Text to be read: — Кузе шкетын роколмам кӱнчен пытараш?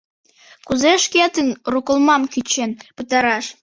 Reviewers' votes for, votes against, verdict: 0, 2, rejected